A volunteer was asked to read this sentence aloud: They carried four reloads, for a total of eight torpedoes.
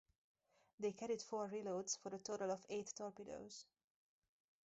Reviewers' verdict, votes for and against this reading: accepted, 4, 0